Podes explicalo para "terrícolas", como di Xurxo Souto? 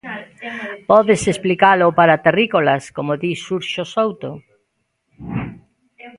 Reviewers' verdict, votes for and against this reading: rejected, 1, 2